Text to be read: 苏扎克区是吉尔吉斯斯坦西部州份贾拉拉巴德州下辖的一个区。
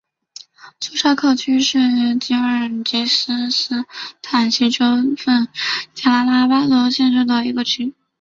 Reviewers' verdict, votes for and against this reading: accepted, 2, 0